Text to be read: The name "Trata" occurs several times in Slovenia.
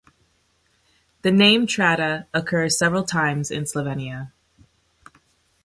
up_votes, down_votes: 2, 0